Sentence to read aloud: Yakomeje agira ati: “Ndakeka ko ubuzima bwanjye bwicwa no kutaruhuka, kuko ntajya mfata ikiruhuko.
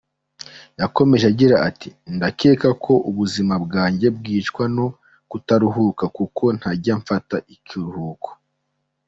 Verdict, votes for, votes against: accepted, 2, 0